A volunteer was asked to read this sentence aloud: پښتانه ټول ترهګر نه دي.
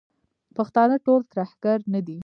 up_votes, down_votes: 1, 2